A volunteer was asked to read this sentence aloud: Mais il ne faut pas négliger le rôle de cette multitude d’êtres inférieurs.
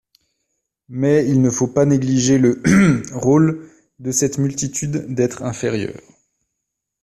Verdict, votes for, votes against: rejected, 0, 2